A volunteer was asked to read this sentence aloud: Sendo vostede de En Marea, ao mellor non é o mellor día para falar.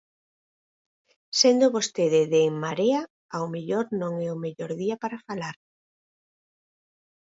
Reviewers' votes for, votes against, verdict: 4, 2, accepted